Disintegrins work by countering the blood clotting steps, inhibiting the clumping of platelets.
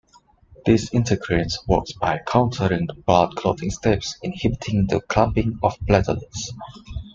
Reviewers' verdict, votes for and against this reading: rejected, 0, 2